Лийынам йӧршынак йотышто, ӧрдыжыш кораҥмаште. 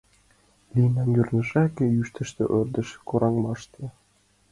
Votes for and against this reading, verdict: 1, 2, rejected